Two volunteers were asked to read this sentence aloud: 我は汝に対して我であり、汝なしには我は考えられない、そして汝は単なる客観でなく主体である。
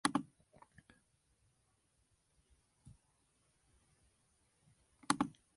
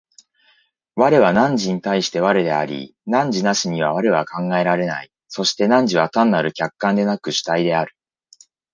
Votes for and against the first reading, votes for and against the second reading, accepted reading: 0, 2, 2, 1, second